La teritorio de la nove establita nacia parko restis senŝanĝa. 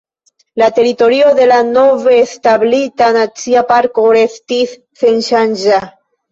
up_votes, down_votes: 1, 2